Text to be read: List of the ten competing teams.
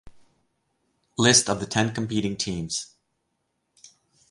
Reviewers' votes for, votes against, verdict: 4, 0, accepted